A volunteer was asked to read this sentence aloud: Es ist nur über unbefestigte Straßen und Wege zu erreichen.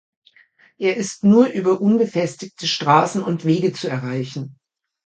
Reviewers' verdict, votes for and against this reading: rejected, 1, 2